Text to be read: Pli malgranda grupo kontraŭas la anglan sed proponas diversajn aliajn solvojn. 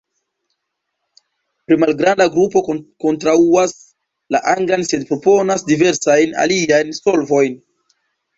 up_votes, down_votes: 0, 2